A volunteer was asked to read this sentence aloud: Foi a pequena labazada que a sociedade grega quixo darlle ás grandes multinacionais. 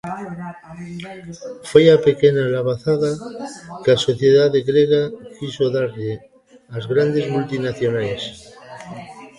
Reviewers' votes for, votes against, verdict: 0, 2, rejected